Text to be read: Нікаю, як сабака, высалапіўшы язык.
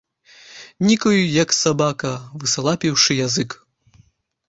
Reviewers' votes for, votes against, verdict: 0, 2, rejected